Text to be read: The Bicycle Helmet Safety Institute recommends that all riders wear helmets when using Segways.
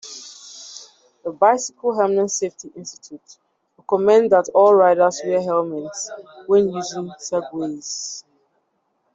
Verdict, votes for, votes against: accepted, 2, 0